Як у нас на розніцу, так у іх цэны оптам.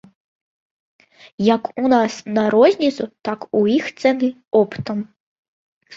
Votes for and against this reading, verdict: 2, 0, accepted